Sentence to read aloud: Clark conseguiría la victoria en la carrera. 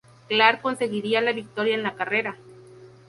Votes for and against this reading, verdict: 2, 0, accepted